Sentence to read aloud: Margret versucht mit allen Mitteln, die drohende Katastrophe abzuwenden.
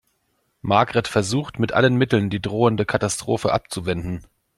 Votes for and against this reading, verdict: 2, 0, accepted